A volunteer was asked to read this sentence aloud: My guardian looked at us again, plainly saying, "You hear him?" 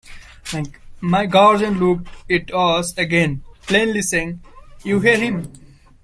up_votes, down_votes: 1, 2